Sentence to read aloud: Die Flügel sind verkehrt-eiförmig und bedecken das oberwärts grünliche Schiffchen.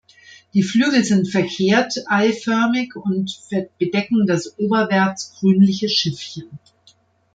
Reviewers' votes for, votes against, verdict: 1, 2, rejected